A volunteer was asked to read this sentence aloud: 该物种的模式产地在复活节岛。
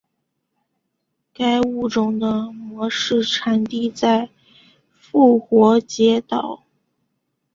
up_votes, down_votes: 2, 0